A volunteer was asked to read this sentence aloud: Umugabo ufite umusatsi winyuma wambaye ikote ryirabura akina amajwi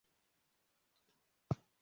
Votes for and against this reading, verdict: 0, 2, rejected